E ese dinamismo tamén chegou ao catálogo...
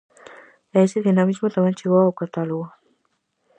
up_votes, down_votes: 4, 0